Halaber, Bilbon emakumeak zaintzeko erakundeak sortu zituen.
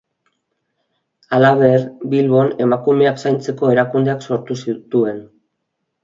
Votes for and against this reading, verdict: 2, 0, accepted